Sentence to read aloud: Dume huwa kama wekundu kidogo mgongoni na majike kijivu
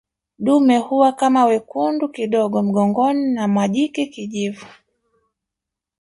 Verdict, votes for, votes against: rejected, 0, 2